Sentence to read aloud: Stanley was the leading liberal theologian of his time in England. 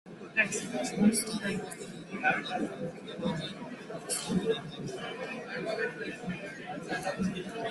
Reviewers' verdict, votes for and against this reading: rejected, 0, 2